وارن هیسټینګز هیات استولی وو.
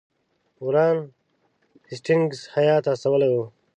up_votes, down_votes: 0, 2